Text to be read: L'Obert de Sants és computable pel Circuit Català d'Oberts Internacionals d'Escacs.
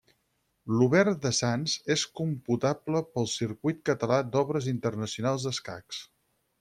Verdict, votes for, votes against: rejected, 2, 4